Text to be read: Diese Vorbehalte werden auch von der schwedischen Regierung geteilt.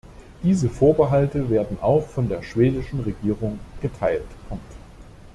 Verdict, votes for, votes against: rejected, 1, 2